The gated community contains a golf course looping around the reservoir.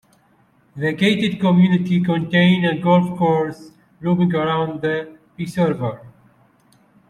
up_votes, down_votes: 0, 2